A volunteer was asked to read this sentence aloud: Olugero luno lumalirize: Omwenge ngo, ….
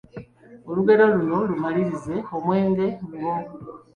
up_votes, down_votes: 2, 1